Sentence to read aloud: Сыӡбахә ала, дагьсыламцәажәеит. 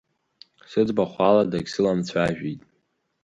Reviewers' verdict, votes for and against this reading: accepted, 3, 0